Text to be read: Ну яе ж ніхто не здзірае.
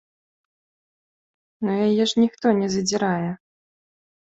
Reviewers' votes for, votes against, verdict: 0, 2, rejected